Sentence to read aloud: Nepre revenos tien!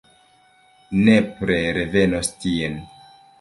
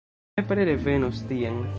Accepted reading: first